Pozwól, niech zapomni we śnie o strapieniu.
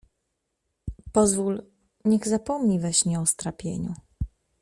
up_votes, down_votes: 2, 0